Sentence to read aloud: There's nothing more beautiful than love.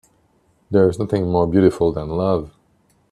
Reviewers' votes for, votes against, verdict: 2, 1, accepted